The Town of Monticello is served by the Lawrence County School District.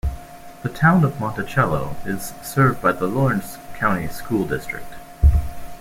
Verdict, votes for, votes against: accepted, 2, 0